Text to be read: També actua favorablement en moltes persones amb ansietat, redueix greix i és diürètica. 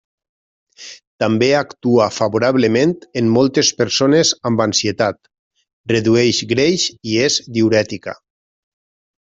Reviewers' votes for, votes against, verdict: 3, 0, accepted